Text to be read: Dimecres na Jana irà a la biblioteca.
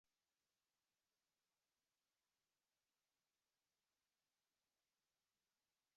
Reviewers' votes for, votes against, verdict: 0, 2, rejected